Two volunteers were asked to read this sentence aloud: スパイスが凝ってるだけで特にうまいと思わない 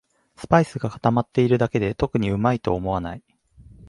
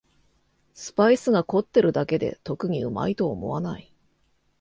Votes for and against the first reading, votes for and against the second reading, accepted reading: 1, 2, 2, 0, second